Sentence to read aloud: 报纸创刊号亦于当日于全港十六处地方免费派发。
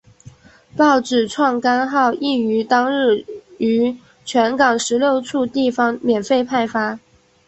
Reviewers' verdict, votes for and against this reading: accepted, 4, 1